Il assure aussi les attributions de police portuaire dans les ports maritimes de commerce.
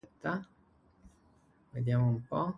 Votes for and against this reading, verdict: 0, 2, rejected